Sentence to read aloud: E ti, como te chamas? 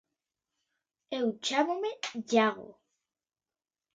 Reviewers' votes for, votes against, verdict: 0, 2, rejected